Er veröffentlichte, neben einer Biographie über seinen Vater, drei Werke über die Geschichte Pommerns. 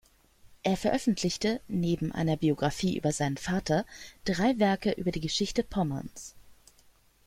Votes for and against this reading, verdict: 2, 0, accepted